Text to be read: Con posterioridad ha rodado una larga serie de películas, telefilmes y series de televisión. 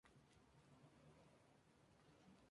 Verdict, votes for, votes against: rejected, 0, 2